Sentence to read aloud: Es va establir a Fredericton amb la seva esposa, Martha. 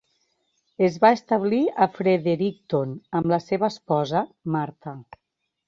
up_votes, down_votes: 2, 0